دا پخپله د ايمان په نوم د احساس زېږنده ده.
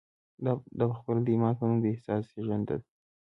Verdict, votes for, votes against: accepted, 2, 0